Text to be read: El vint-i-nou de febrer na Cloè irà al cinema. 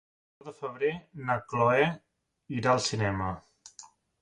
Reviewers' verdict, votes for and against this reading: rejected, 0, 2